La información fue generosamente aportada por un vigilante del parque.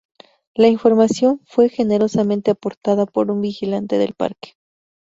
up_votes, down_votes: 2, 0